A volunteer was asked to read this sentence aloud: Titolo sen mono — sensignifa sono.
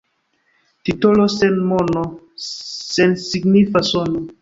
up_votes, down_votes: 1, 2